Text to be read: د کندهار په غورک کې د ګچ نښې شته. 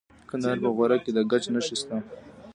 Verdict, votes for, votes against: rejected, 1, 2